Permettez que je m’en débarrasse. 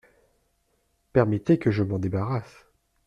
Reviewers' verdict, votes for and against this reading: accepted, 2, 0